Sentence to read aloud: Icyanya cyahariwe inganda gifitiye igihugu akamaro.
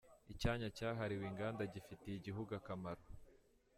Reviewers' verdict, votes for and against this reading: accepted, 2, 0